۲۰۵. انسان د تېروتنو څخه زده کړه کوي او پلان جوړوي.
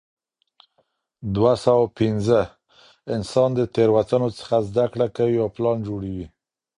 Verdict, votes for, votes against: rejected, 0, 2